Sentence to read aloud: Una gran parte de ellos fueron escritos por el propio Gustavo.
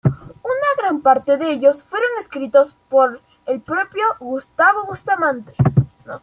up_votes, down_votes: 0, 2